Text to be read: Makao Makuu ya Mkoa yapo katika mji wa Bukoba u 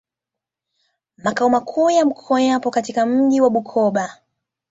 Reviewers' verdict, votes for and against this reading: accepted, 2, 0